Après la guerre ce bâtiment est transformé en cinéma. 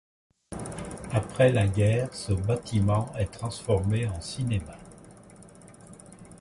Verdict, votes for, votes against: accepted, 2, 1